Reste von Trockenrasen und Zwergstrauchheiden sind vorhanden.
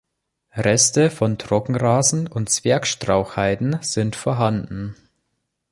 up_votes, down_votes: 2, 0